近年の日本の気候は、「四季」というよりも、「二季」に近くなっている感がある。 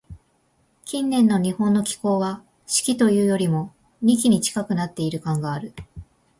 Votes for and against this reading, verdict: 2, 0, accepted